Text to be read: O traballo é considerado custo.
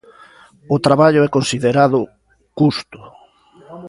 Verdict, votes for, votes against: rejected, 1, 2